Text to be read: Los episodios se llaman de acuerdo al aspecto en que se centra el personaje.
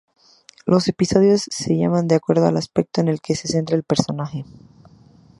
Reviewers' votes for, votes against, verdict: 0, 2, rejected